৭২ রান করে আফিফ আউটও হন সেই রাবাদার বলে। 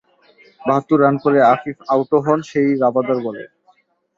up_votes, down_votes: 0, 2